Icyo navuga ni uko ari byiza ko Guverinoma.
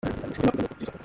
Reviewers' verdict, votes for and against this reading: rejected, 0, 2